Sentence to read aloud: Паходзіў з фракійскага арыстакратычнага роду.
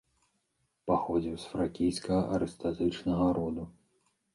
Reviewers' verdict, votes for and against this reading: rejected, 1, 2